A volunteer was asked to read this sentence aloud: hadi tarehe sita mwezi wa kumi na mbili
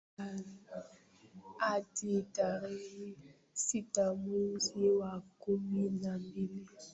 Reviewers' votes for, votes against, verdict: 0, 2, rejected